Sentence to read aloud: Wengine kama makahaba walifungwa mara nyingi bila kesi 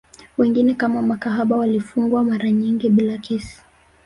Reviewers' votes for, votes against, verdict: 1, 2, rejected